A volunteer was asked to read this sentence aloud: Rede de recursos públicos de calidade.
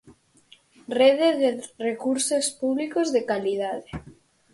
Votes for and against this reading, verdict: 2, 4, rejected